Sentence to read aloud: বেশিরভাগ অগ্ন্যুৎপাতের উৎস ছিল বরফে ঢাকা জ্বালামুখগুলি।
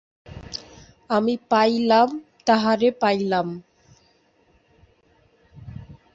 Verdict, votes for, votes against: rejected, 0, 2